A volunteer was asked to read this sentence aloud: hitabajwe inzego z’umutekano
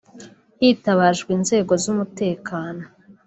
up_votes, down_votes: 2, 1